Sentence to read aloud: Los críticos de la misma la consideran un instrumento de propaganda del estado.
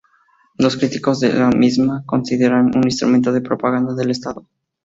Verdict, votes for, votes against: rejected, 0, 2